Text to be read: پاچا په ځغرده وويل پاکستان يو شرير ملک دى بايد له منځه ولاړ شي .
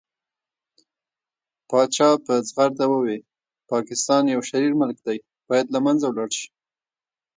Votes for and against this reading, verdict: 1, 2, rejected